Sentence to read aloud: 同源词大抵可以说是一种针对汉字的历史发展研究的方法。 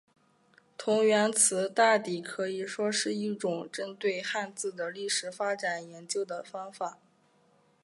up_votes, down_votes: 2, 1